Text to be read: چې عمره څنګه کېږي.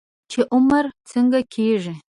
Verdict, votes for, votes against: rejected, 1, 2